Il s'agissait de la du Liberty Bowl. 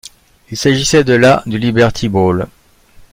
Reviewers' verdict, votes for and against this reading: accepted, 2, 0